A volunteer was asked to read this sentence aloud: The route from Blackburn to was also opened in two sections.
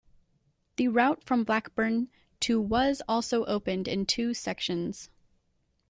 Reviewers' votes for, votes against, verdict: 2, 0, accepted